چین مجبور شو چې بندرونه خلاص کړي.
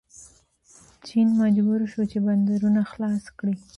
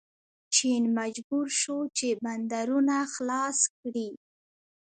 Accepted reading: first